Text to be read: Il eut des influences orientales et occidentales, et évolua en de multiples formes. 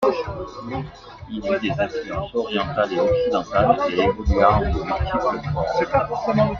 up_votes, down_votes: 0, 2